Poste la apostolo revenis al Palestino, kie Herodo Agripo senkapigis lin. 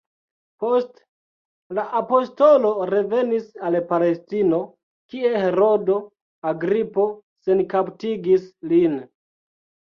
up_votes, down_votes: 1, 2